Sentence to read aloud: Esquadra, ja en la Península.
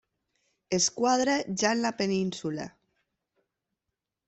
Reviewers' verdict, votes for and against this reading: accepted, 2, 0